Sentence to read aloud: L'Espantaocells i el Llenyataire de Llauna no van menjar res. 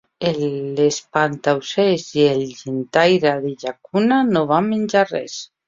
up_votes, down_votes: 0, 2